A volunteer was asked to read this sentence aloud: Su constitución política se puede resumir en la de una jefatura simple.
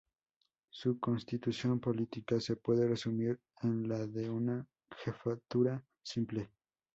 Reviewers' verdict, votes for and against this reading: rejected, 0, 2